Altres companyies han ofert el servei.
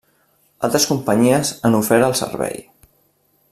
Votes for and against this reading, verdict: 2, 0, accepted